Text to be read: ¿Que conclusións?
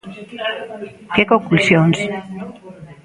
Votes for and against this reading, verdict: 2, 0, accepted